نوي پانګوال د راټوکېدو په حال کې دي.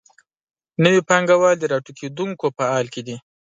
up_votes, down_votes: 0, 2